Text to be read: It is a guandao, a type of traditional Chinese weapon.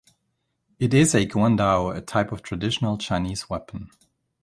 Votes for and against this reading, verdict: 2, 0, accepted